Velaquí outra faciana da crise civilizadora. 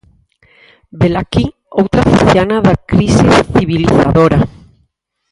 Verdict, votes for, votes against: rejected, 0, 4